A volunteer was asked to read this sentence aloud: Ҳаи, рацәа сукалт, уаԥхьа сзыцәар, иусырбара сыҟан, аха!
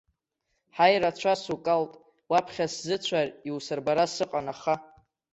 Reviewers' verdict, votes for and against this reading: accepted, 2, 1